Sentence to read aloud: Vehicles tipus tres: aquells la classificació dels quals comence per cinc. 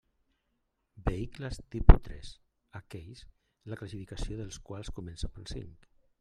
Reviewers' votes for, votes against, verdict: 2, 0, accepted